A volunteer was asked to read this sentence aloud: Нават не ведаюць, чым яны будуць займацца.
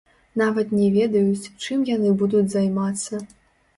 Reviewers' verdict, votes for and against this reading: rejected, 1, 2